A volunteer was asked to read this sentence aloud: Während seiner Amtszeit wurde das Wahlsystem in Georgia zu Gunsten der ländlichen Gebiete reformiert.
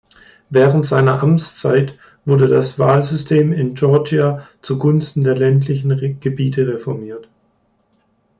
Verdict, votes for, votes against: rejected, 0, 2